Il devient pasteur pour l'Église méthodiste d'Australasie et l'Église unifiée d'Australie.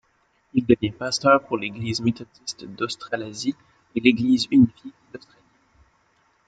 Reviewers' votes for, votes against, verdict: 1, 2, rejected